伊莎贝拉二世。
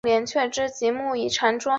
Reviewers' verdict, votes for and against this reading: rejected, 0, 4